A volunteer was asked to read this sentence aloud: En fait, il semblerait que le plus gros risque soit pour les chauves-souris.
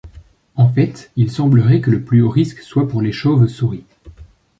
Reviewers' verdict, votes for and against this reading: rejected, 0, 3